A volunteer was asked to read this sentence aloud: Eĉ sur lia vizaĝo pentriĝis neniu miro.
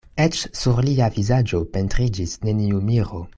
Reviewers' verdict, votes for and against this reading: accepted, 3, 0